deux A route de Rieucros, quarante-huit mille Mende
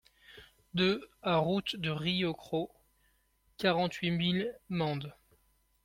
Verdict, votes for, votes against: accepted, 2, 0